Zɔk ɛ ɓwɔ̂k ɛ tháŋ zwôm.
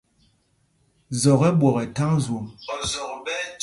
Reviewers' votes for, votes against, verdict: 0, 2, rejected